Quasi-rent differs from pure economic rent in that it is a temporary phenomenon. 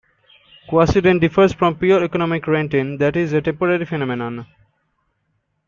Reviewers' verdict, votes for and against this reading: rejected, 1, 2